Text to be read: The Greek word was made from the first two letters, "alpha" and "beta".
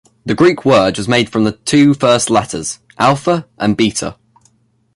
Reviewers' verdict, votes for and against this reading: rejected, 1, 2